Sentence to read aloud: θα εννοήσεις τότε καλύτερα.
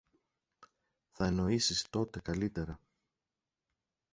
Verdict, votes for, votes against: accepted, 2, 0